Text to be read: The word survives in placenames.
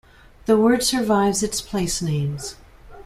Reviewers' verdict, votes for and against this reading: rejected, 1, 2